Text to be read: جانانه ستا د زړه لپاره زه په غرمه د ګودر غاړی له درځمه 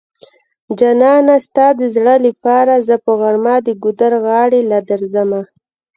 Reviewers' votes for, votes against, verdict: 0, 2, rejected